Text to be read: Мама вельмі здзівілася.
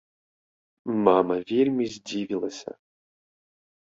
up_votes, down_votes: 1, 2